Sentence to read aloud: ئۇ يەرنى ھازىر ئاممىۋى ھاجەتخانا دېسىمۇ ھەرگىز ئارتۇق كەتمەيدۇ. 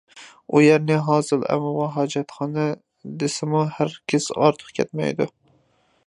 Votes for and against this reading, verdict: 0, 2, rejected